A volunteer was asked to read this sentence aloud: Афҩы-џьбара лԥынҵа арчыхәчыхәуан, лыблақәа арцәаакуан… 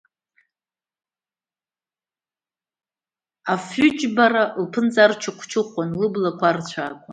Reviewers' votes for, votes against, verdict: 2, 0, accepted